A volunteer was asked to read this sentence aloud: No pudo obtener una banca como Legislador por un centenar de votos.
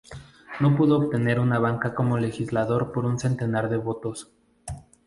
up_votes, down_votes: 4, 0